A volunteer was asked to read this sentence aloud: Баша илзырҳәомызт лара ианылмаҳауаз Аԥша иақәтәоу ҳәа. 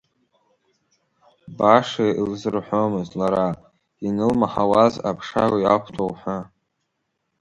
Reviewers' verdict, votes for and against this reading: rejected, 1, 2